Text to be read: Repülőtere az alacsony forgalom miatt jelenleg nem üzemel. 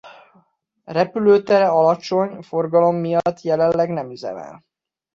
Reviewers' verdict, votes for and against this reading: rejected, 0, 2